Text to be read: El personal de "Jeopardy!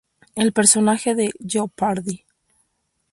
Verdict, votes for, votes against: rejected, 0, 2